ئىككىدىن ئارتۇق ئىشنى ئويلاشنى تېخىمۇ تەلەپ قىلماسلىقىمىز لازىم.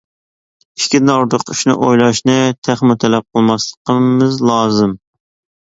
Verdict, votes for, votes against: rejected, 0, 2